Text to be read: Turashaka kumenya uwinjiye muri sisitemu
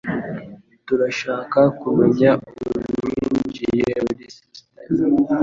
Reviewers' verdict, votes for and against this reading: rejected, 1, 3